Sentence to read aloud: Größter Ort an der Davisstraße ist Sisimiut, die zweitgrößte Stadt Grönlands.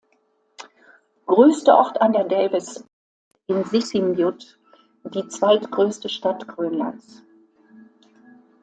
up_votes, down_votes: 0, 2